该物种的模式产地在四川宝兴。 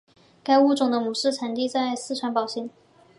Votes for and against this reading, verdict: 2, 0, accepted